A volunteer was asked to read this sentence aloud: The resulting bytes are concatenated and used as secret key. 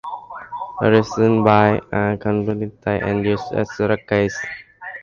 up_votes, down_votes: 0, 2